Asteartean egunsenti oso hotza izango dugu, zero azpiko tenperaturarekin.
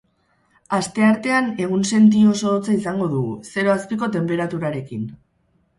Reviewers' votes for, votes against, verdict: 4, 0, accepted